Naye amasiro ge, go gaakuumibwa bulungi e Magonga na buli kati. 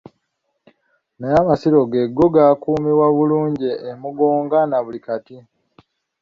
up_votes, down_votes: 0, 2